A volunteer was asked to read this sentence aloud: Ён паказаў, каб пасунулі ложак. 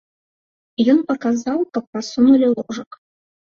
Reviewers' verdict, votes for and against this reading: accepted, 2, 0